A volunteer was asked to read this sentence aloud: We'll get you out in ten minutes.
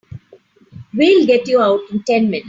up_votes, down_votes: 0, 2